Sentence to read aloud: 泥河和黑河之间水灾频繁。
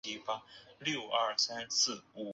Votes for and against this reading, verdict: 3, 0, accepted